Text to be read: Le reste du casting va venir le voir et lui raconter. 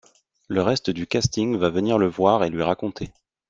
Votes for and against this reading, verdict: 2, 0, accepted